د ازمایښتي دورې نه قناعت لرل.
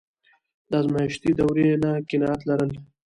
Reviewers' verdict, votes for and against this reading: rejected, 1, 2